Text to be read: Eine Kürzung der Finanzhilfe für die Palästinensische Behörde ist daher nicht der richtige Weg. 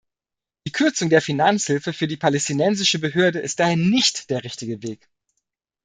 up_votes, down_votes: 0, 2